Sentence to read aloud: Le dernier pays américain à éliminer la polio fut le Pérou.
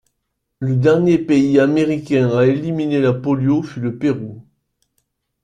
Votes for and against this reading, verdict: 2, 0, accepted